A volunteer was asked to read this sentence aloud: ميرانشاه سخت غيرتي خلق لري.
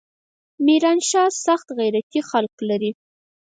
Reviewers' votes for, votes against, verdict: 2, 4, rejected